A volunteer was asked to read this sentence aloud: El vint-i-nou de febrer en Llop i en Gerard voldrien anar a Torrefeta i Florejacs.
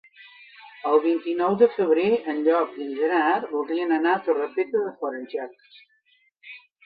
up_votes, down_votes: 0, 2